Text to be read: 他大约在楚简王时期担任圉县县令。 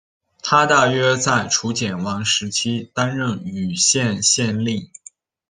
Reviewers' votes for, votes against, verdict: 2, 0, accepted